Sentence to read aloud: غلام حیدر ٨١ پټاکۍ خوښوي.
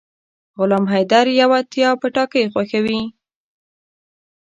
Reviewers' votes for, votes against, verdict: 0, 2, rejected